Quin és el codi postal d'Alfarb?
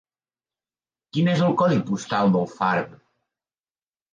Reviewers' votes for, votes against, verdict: 2, 0, accepted